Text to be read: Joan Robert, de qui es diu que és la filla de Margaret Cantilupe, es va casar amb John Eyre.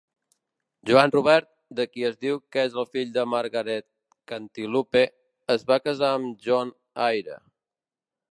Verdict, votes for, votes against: rejected, 0, 2